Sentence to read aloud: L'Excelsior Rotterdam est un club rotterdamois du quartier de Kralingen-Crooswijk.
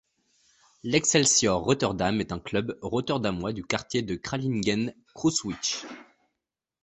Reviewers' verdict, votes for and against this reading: rejected, 1, 2